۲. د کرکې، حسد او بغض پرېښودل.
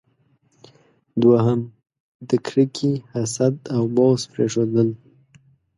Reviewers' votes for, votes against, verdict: 0, 2, rejected